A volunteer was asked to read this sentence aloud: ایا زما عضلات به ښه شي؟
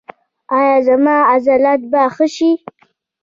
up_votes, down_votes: 2, 0